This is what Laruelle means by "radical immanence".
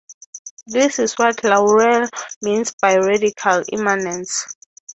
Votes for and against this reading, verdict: 6, 0, accepted